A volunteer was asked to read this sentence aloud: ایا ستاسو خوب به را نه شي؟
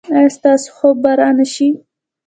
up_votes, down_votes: 2, 0